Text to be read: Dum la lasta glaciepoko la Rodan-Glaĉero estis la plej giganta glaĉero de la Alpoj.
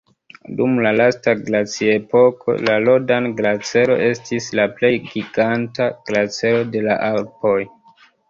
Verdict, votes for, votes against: rejected, 0, 2